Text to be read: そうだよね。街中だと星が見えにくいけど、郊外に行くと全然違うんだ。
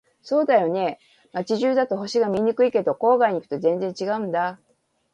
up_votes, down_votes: 1, 2